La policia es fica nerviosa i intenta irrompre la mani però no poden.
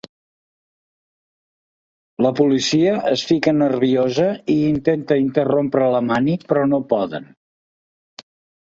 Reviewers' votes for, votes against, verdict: 0, 2, rejected